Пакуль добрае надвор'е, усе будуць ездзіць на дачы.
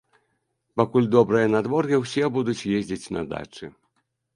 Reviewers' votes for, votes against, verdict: 1, 2, rejected